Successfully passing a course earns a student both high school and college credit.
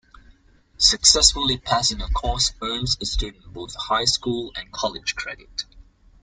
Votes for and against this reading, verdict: 2, 0, accepted